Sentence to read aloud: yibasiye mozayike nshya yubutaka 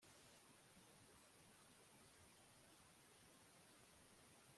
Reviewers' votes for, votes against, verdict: 1, 2, rejected